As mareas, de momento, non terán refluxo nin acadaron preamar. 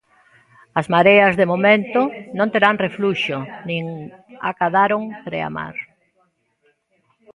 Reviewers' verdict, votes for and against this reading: rejected, 1, 2